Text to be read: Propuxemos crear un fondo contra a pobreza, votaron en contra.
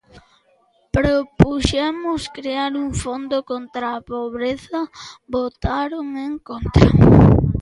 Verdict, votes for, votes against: rejected, 1, 2